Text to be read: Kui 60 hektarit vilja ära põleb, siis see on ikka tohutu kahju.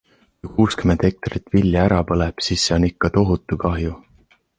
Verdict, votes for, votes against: rejected, 0, 2